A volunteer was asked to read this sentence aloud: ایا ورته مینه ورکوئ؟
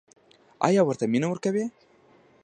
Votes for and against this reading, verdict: 0, 2, rejected